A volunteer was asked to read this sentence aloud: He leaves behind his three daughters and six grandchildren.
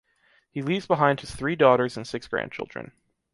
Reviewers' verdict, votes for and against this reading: accepted, 2, 0